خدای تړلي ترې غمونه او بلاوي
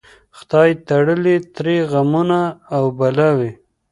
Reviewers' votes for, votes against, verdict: 1, 2, rejected